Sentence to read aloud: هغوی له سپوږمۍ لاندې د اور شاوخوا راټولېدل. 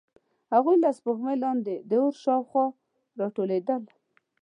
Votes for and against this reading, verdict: 2, 0, accepted